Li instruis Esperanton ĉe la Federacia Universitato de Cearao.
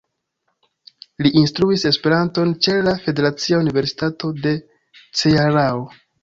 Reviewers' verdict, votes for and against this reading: accepted, 2, 0